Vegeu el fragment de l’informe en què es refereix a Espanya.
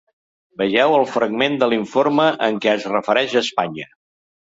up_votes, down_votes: 2, 0